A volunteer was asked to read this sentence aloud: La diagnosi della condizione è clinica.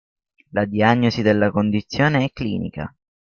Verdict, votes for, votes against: accepted, 2, 0